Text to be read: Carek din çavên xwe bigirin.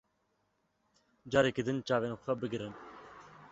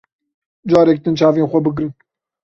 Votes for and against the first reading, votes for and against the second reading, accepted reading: 0, 2, 2, 0, second